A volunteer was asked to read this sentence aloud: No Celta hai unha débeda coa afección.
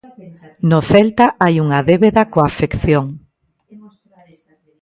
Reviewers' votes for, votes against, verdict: 0, 2, rejected